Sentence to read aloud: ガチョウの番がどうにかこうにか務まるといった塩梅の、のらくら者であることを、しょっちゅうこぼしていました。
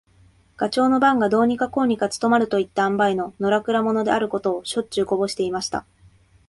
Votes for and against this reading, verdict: 2, 1, accepted